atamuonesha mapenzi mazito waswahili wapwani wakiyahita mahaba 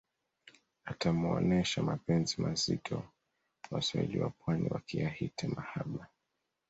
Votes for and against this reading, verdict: 2, 0, accepted